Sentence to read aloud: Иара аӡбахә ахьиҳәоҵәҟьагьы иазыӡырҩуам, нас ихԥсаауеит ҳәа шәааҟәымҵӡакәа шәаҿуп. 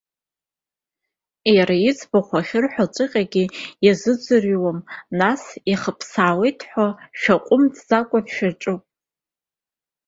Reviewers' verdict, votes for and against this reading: accepted, 2, 0